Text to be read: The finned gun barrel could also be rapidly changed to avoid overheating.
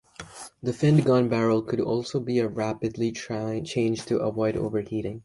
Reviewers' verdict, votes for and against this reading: rejected, 0, 2